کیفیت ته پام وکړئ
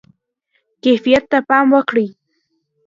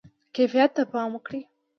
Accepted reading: second